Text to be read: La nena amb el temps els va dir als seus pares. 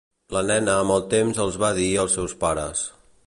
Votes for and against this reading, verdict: 2, 0, accepted